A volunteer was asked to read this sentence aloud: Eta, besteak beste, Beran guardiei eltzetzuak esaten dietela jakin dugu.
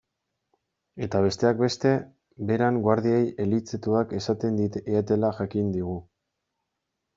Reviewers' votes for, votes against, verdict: 1, 2, rejected